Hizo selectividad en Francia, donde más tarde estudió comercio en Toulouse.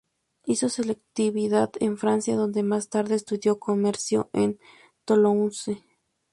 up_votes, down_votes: 0, 4